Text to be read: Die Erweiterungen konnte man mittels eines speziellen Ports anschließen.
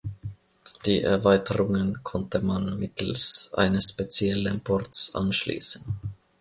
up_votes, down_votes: 2, 1